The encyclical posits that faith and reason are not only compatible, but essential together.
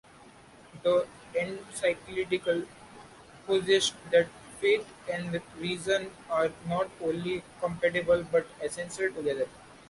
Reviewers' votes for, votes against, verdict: 0, 2, rejected